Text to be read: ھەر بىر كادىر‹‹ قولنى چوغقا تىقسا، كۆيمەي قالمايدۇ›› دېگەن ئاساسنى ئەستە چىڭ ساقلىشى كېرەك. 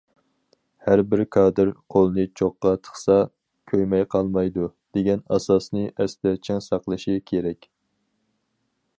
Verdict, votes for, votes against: accepted, 4, 0